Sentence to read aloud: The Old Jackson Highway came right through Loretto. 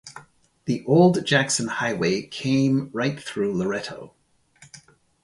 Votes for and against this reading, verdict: 2, 0, accepted